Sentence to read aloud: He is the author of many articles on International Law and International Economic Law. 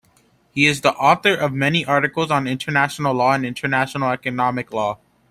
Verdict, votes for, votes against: accepted, 2, 0